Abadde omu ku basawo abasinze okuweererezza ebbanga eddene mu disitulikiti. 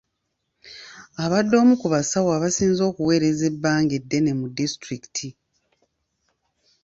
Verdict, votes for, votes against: accepted, 2, 0